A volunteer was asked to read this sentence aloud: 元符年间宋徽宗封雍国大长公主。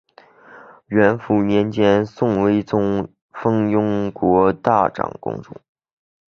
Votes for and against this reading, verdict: 7, 2, accepted